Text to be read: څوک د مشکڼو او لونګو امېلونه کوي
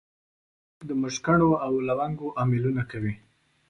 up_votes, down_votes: 1, 2